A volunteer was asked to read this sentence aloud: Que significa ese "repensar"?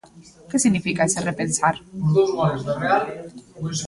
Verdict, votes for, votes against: rejected, 0, 2